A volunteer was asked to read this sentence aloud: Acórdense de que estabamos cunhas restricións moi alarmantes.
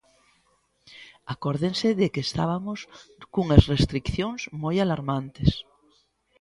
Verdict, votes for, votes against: rejected, 1, 2